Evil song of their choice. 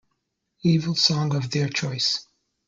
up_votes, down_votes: 1, 2